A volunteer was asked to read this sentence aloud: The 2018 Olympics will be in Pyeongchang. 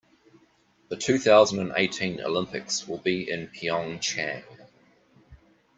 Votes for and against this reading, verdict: 0, 2, rejected